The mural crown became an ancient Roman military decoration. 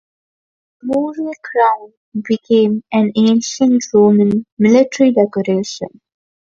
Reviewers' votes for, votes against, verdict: 2, 0, accepted